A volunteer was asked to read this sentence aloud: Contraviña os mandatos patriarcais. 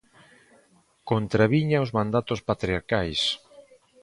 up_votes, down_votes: 2, 0